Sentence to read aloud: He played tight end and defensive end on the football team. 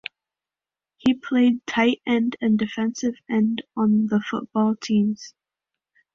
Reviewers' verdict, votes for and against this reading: rejected, 1, 2